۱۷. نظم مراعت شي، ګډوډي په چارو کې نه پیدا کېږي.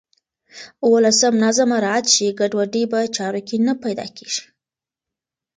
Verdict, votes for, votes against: rejected, 0, 2